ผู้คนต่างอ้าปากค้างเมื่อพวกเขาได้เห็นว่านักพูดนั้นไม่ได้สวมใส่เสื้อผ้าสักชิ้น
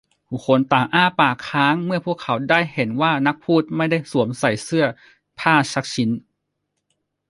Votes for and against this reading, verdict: 1, 2, rejected